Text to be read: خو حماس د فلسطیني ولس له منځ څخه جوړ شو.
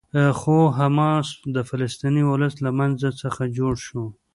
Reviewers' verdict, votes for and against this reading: rejected, 0, 2